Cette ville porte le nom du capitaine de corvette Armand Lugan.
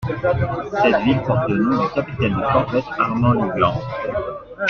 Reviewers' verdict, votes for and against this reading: accepted, 2, 1